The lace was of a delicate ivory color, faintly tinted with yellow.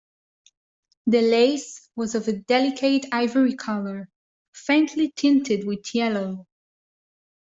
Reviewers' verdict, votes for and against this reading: accepted, 2, 0